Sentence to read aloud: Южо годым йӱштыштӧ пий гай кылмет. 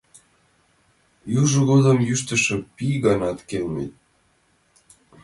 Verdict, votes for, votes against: rejected, 1, 2